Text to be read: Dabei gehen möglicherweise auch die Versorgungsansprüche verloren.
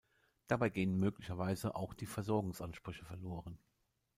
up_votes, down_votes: 1, 2